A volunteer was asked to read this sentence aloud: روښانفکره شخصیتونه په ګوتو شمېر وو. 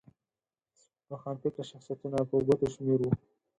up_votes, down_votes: 2, 4